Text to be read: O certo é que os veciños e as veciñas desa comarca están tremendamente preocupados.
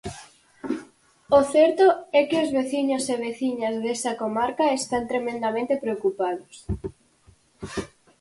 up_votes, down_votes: 2, 4